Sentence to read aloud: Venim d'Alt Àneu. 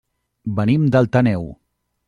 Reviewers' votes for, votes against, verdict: 1, 2, rejected